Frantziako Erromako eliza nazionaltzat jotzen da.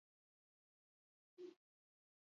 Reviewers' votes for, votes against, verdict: 0, 2, rejected